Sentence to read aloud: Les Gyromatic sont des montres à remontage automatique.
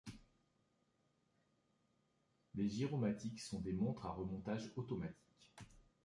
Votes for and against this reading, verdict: 1, 3, rejected